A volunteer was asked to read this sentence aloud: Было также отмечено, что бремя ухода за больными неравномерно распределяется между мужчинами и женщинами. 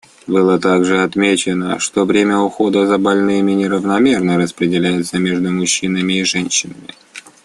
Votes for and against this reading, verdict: 0, 2, rejected